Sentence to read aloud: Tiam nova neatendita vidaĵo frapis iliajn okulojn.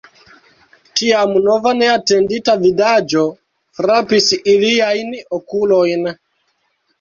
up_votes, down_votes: 1, 2